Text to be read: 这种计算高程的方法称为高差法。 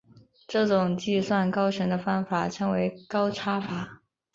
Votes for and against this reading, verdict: 2, 1, accepted